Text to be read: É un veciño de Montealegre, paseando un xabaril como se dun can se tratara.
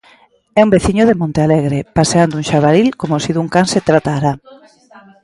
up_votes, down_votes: 0, 2